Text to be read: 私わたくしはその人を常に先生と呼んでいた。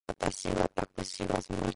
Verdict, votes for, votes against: rejected, 1, 2